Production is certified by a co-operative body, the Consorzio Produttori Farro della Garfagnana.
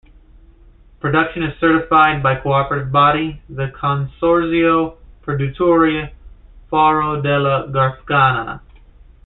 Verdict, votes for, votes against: rejected, 1, 2